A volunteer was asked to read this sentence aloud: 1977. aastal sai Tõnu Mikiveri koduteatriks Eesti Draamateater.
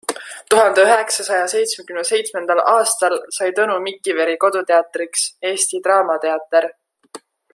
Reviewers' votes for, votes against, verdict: 0, 2, rejected